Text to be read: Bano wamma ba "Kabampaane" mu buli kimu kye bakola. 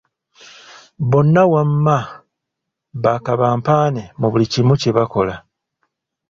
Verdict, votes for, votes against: rejected, 0, 2